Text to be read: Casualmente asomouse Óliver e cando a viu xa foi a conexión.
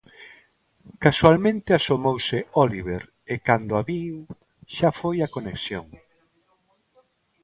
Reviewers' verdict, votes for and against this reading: accepted, 2, 0